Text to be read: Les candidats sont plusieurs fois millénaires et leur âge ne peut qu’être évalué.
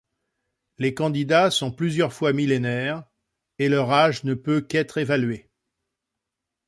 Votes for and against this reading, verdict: 2, 0, accepted